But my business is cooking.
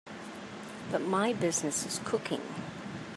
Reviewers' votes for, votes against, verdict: 2, 0, accepted